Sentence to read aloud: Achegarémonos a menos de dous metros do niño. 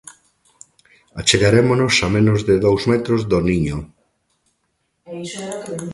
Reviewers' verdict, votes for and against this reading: rejected, 1, 2